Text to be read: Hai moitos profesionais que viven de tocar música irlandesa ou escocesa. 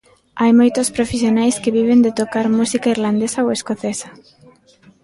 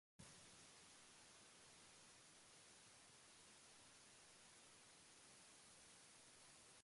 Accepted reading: first